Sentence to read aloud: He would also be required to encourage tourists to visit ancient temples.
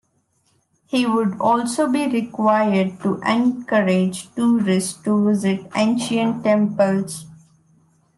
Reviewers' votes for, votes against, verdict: 1, 2, rejected